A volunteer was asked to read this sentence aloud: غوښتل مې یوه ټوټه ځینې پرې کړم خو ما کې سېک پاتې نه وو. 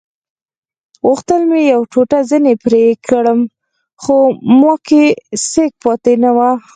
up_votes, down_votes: 4, 2